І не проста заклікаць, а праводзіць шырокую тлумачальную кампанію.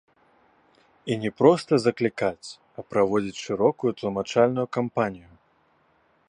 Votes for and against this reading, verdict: 0, 2, rejected